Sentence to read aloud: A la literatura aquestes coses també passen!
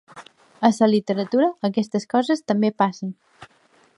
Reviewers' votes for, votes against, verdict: 1, 2, rejected